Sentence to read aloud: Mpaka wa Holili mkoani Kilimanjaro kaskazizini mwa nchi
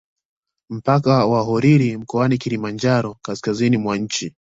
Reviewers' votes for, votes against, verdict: 2, 0, accepted